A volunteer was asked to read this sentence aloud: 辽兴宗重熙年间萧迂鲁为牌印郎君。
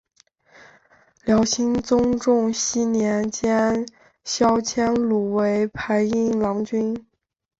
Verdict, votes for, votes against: accepted, 6, 1